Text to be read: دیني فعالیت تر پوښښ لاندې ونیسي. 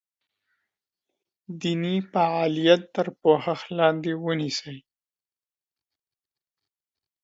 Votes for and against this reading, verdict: 2, 1, accepted